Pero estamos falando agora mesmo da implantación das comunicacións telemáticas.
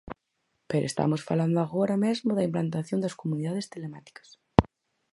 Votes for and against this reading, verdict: 2, 4, rejected